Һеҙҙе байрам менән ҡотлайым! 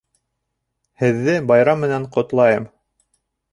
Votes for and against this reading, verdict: 3, 0, accepted